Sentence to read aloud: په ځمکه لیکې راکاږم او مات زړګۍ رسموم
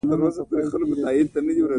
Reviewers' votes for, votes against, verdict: 2, 0, accepted